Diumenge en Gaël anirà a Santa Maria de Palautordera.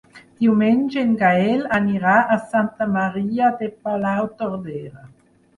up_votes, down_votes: 4, 0